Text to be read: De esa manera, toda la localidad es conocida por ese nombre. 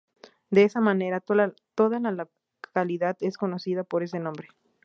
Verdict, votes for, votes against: rejected, 0, 2